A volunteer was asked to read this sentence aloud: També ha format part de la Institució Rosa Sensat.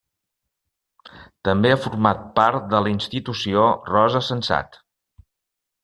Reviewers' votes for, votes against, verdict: 3, 1, accepted